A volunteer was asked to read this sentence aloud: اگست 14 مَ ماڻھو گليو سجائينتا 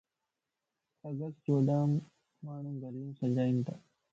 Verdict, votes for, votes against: rejected, 0, 2